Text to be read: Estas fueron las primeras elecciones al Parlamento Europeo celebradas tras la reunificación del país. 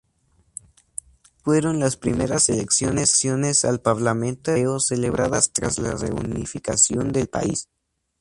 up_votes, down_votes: 0, 4